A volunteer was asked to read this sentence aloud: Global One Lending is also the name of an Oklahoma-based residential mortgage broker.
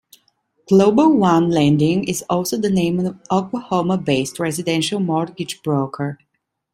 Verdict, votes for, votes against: accepted, 2, 0